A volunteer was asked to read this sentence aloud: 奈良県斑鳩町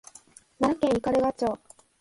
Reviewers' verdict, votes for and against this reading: rejected, 1, 2